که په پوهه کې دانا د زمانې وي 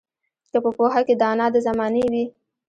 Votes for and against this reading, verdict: 0, 2, rejected